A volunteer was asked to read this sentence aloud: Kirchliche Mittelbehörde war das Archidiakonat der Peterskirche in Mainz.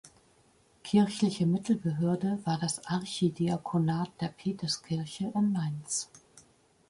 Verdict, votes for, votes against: accepted, 3, 0